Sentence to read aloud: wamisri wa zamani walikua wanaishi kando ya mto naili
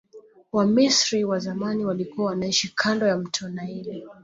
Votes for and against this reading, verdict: 2, 0, accepted